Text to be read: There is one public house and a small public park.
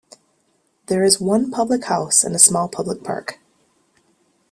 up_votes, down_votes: 2, 0